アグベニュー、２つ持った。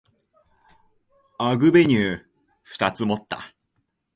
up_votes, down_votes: 0, 2